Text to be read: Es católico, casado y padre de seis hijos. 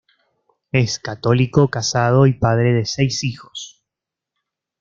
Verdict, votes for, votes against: accepted, 2, 0